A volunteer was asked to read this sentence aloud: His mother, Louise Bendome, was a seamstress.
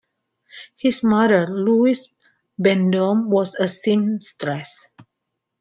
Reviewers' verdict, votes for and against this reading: accepted, 2, 0